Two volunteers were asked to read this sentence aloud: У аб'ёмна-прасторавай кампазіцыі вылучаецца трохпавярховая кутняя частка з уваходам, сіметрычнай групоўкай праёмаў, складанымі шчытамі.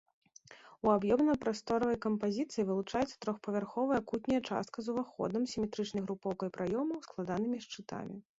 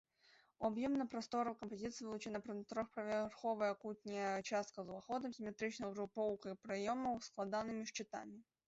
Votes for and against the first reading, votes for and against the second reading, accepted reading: 3, 0, 0, 2, first